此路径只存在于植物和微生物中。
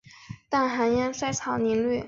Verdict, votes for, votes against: rejected, 3, 4